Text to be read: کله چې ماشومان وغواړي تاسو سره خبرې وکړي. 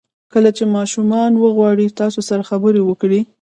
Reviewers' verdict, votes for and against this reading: rejected, 0, 2